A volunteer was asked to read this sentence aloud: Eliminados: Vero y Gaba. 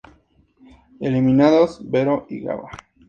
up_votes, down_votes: 4, 0